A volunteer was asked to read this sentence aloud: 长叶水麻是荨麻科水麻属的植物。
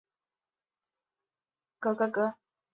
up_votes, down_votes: 1, 2